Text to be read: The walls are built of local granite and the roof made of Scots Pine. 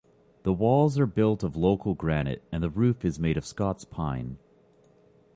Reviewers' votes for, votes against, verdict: 0, 2, rejected